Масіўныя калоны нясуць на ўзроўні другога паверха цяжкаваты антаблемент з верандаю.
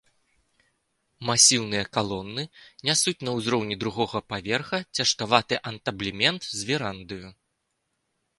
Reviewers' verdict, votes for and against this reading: accepted, 2, 0